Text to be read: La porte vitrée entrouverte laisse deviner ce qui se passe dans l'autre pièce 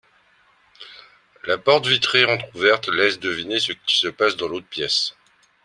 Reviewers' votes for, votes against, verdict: 0, 2, rejected